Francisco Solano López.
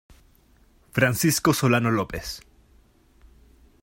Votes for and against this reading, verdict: 2, 0, accepted